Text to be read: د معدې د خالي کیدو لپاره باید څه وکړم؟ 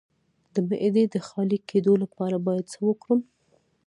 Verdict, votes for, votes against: rejected, 1, 2